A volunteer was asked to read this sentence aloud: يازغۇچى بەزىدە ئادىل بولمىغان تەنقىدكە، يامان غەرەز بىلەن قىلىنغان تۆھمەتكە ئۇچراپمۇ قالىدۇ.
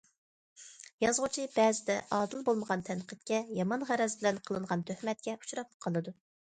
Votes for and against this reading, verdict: 2, 0, accepted